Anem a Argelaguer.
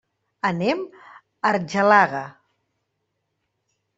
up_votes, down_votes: 1, 2